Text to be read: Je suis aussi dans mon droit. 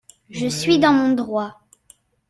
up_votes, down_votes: 0, 2